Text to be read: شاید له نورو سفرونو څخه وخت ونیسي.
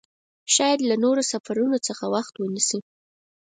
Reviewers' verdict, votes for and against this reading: accepted, 4, 0